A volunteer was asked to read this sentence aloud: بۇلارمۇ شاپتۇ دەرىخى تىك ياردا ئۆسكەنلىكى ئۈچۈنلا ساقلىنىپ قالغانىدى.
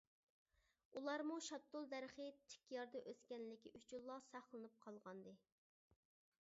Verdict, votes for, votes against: rejected, 0, 2